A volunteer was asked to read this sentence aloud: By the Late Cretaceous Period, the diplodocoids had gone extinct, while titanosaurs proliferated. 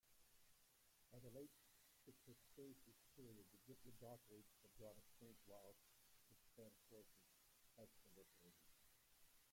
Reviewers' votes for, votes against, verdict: 0, 2, rejected